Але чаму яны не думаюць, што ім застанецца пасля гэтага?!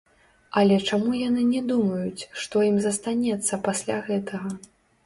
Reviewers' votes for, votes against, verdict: 1, 2, rejected